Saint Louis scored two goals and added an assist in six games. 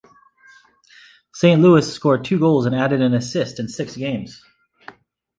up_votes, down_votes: 2, 0